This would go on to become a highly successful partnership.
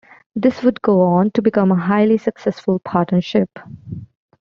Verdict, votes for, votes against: accepted, 2, 0